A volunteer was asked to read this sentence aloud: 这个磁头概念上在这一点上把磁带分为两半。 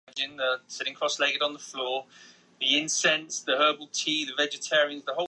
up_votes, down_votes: 0, 2